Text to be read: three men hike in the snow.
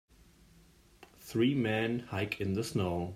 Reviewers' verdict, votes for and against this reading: accepted, 2, 0